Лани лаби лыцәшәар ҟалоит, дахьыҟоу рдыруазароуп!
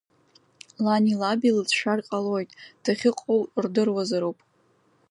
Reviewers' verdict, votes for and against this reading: accepted, 2, 0